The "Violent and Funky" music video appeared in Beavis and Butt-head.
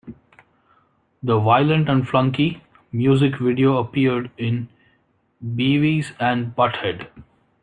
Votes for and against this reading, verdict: 1, 2, rejected